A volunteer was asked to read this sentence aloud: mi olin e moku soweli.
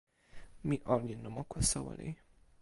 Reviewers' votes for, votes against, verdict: 2, 0, accepted